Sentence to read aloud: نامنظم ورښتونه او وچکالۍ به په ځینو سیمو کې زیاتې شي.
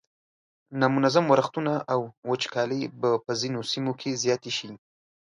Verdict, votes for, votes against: accepted, 2, 0